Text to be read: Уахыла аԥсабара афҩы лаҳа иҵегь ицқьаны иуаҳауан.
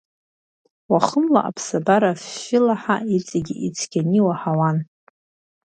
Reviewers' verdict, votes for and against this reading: rejected, 1, 2